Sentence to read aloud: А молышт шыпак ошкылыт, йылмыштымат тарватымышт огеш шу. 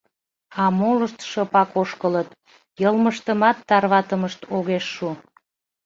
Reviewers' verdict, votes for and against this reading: accepted, 2, 0